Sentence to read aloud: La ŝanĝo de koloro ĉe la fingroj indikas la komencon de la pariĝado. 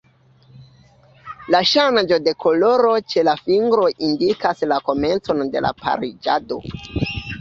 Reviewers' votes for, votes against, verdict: 2, 1, accepted